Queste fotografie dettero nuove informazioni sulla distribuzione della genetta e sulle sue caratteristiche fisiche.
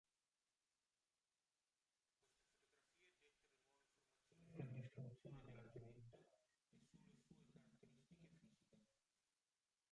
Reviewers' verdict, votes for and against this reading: rejected, 0, 2